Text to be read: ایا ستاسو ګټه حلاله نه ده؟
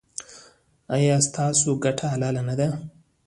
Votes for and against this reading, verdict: 2, 0, accepted